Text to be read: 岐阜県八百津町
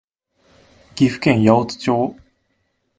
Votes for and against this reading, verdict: 2, 0, accepted